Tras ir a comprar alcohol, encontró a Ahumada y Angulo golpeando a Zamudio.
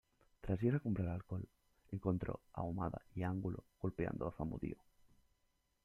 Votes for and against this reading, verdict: 2, 0, accepted